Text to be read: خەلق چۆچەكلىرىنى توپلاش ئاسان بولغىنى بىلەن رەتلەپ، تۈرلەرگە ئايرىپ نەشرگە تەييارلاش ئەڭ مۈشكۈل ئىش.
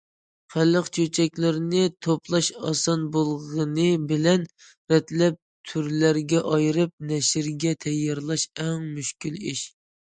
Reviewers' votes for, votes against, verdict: 2, 0, accepted